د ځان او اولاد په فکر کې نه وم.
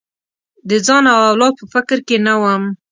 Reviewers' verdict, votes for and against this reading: accepted, 2, 0